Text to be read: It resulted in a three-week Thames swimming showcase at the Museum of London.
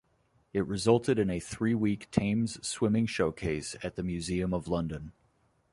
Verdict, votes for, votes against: accepted, 2, 0